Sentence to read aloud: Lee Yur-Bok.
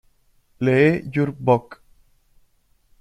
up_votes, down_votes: 0, 2